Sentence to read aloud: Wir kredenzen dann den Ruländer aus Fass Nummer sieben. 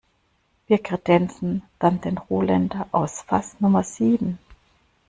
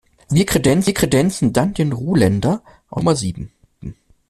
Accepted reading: first